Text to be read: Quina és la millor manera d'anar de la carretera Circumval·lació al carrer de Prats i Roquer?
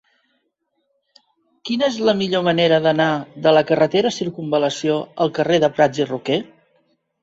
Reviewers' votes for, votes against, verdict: 2, 0, accepted